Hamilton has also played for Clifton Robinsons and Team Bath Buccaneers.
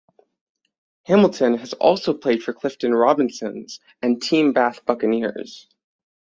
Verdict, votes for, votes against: accepted, 6, 0